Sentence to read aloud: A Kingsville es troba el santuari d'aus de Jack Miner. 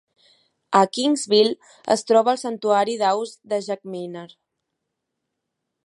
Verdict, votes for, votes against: accepted, 2, 0